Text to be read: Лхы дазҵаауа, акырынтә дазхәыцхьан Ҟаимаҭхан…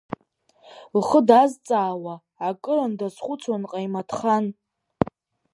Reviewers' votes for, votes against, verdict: 1, 2, rejected